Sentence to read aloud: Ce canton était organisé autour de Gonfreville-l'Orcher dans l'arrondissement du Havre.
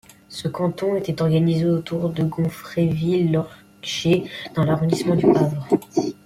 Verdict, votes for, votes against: rejected, 1, 2